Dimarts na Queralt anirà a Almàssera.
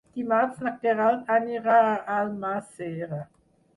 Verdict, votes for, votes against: rejected, 0, 6